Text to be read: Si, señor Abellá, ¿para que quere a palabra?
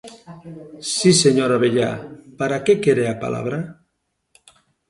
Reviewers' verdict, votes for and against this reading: accepted, 2, 0